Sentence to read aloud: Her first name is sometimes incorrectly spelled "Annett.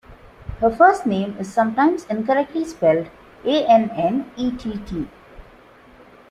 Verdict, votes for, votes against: accepted, 2, 1